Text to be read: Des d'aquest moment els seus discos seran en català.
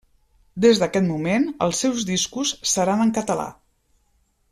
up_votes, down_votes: 3, 0